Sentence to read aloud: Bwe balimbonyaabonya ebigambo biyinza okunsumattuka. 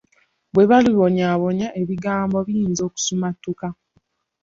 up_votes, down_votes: 0, 2